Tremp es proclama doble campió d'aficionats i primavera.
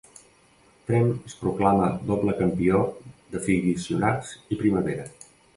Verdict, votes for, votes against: rejected, 0, 2